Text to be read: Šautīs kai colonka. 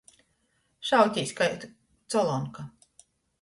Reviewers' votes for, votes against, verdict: 0, 2, rejected